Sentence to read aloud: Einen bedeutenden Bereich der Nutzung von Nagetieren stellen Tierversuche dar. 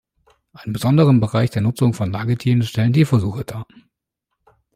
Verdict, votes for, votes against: rejected, 1, 2